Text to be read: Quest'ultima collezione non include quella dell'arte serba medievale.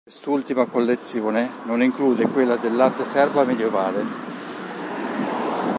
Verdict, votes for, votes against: rejected, 2, 3